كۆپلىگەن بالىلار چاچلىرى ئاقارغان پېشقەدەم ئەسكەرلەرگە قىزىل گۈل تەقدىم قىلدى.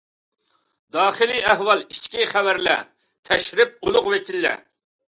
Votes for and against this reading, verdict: 0, 2, rejected